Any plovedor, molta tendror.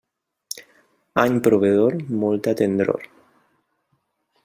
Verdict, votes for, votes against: rejected, 0, 2